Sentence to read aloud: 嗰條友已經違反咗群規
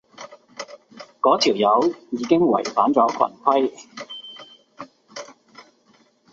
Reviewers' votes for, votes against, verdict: 2, 0, accepted